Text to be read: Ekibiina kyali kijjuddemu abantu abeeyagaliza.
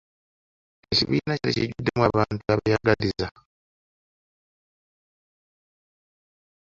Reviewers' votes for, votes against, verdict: 0, 2, rejected